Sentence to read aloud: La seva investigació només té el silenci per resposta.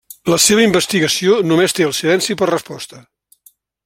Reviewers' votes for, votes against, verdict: 3, 0, accepted